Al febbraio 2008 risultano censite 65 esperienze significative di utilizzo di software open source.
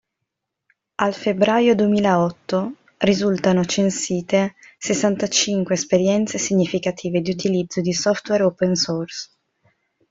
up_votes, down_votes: 0, 2